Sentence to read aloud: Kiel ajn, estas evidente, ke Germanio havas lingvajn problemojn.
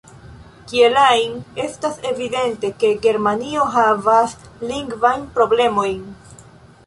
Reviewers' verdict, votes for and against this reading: accepted, 2, 0